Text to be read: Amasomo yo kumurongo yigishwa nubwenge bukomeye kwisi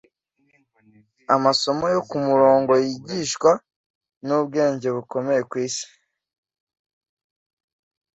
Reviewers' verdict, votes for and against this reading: accepted, 2, 0